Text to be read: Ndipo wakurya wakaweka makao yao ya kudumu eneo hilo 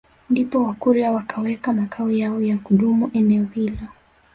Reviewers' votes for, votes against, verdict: 1, 2, rejected